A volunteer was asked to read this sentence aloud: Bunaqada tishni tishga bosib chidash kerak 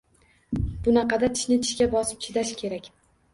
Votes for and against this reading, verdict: 2, 0, accepted